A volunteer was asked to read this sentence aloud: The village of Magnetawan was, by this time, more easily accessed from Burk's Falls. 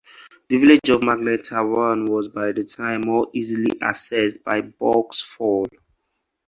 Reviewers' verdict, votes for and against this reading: rejected, 0, 2